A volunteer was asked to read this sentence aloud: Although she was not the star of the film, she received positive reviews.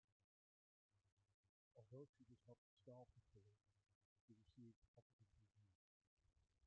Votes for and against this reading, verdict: 0, 2, rejected